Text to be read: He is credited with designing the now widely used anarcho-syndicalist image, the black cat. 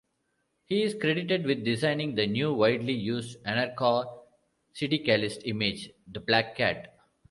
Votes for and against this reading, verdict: 1, 2, rejected